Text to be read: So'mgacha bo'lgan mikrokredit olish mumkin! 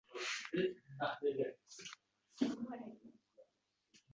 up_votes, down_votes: 0, 2